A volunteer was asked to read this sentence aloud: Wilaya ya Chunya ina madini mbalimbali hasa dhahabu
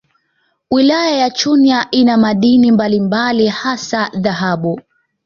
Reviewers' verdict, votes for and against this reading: accepted, 2, 0